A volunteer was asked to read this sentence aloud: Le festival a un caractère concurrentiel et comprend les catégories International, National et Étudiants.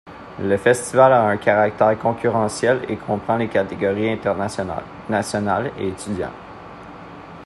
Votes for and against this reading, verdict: 1, 2, rejected